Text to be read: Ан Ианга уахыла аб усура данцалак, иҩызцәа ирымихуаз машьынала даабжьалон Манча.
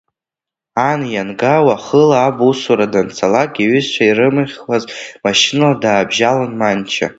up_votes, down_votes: 2, 1